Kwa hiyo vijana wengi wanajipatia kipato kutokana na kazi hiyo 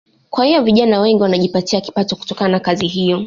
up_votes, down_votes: 2, 0